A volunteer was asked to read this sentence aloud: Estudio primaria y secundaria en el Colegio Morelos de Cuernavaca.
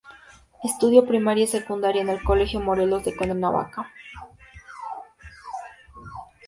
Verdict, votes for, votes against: accepted, 2, 0